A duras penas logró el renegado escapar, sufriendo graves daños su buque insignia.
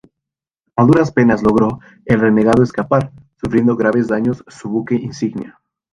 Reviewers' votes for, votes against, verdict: 2, 2, rejected